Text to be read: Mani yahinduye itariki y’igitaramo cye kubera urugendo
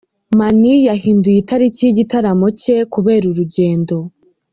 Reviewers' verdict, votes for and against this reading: rejected, 1, 2